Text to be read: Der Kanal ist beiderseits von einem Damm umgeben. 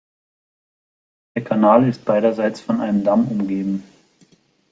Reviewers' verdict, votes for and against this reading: accepted, 2, 1